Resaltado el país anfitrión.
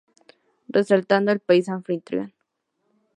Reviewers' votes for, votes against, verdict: 2, 0, accepted